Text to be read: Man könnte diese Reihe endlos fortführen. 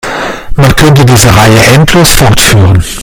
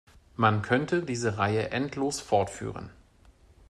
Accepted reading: second